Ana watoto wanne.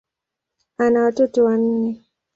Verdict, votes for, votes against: accepted, 2, 0